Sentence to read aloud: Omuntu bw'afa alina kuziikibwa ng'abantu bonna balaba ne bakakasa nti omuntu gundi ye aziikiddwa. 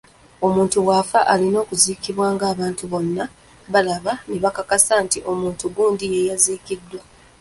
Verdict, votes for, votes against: rejected, 1, 2